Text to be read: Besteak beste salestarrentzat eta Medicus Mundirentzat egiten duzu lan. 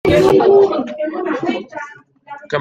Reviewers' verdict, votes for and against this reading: rejected, 0, 2